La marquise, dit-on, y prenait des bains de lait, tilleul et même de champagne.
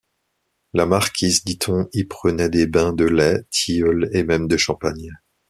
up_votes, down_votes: 2, 0